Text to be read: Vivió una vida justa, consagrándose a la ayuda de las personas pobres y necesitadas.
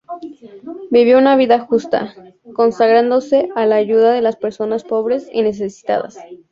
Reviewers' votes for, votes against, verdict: 2, 0, accepted